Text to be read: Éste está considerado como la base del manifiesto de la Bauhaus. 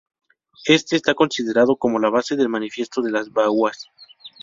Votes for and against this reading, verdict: 0, 2, rejected